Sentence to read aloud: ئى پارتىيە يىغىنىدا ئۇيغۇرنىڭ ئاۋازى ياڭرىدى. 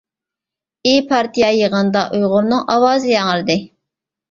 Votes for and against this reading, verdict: 2, 0, accepted